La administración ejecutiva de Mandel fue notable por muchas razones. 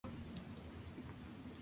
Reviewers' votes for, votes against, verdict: 0, 2, rejected